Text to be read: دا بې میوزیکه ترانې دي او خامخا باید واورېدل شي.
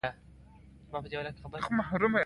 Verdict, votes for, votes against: accepted, 2, 0